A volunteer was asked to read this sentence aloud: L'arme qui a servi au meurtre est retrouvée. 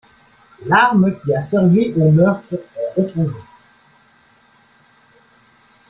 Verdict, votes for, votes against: accepted, 2, 0